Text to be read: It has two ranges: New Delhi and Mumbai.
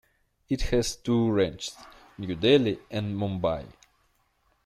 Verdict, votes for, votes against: accepted, 3, 0